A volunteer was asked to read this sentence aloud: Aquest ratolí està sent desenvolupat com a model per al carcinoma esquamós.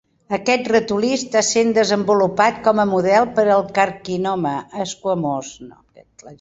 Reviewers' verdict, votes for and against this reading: rejected, 0, 2